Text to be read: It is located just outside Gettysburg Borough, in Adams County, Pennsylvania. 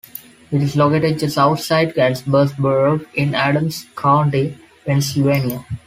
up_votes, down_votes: 2, 1